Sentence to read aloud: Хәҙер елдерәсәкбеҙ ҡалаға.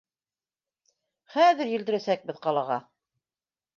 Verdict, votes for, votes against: accepted, 3, 0